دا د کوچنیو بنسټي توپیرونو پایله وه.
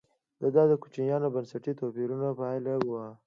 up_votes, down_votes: 2, 0